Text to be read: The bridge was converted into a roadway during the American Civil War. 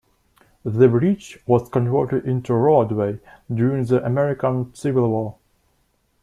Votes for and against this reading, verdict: 2, 0, accepted